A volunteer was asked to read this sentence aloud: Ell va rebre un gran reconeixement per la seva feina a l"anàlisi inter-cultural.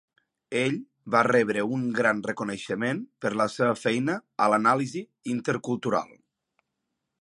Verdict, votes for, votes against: accepted, 2, 0